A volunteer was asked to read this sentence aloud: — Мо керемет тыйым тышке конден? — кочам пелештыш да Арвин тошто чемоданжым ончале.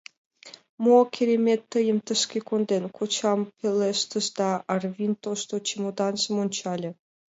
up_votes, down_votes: 2, 0